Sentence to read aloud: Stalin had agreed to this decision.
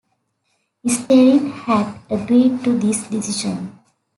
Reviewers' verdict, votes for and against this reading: accepted, 2, 1